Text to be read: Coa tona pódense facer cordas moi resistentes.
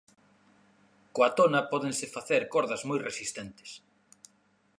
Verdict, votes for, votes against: accepted, 2, 0